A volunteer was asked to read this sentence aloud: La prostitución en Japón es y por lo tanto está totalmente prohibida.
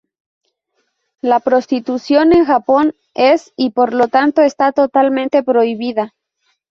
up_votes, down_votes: 2, 2